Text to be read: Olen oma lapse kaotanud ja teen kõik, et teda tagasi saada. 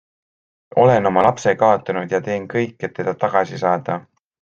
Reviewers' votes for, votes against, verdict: 2, 0, accepted